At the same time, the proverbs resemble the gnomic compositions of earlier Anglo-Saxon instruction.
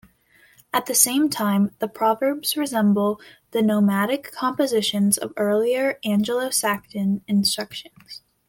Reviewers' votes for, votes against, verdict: 1, 2, rejected